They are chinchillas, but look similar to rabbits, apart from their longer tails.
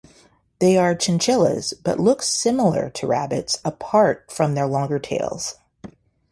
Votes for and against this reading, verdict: 0, 2, rejected